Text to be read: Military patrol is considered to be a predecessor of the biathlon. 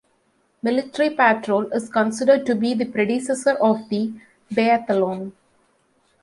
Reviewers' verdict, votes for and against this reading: rejected, 0, 2